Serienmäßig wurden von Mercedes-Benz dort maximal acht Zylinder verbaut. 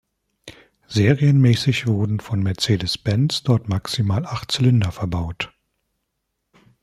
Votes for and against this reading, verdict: 3, 0, accepted